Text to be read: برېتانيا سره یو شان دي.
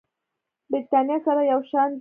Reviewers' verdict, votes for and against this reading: accepted, 2, 0